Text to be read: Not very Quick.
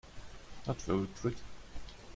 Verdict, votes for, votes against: rejected, 1, 2